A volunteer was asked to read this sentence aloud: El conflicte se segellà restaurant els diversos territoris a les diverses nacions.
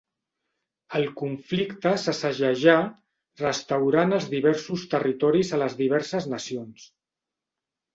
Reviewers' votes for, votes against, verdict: 0, 2, rejected